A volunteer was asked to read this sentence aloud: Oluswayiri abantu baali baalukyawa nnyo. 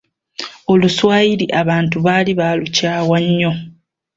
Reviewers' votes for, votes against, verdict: 2, 0, accepted